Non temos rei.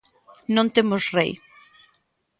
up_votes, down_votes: 3, 0